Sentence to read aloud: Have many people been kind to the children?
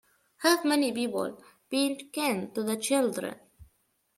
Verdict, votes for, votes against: rejected, 0, 2